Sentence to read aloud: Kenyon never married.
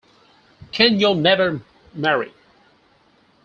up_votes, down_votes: 4, 0